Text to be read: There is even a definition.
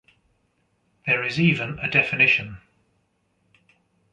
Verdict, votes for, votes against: accepted, 2, 0